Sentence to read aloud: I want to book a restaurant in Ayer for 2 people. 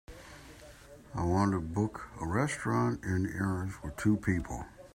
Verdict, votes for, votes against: rejected, 0, 2